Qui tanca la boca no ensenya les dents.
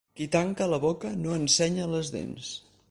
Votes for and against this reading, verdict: 4, 0, accepted